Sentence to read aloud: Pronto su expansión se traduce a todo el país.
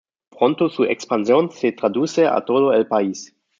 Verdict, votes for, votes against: accepted, 2, 0